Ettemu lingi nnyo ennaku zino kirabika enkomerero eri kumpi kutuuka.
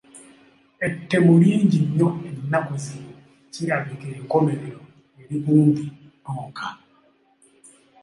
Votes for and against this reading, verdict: 1, 2, rejected